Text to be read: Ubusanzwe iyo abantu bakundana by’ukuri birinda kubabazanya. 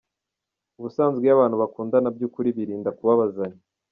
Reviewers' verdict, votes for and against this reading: accepted, 2, 0